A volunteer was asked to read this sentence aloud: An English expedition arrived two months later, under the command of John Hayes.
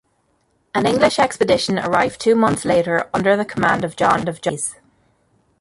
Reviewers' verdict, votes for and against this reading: rejected, 0, 2